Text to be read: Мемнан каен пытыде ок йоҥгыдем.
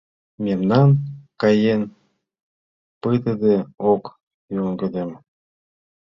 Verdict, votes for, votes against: accepted, 2, 1